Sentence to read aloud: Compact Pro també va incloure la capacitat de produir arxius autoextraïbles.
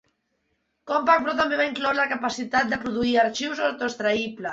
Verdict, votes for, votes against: rejected, 0, 2